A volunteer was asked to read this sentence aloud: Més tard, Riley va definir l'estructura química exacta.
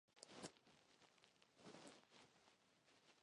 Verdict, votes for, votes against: rejected, 0, 2